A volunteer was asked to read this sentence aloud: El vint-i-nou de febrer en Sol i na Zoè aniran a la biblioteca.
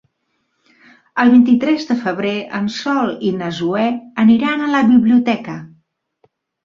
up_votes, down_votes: 0, 2